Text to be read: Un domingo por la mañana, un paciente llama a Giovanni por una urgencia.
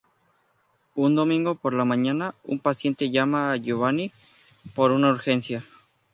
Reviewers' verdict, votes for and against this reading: accepted, 4, 0